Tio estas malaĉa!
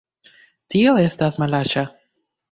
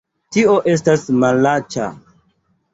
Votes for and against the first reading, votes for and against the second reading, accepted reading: 2, 0, 1, 2, first